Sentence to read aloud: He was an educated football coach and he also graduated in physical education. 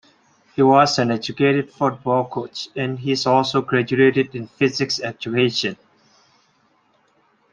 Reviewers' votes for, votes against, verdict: 0, 3, rejected